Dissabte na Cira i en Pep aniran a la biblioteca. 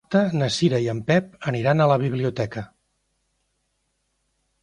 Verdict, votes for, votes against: rejected, 1, 2